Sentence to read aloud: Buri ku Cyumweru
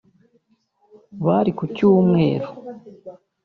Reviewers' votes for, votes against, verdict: 0, 2, rejected